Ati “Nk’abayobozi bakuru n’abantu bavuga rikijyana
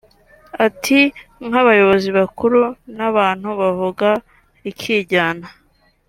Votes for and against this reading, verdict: 3, 0, accepted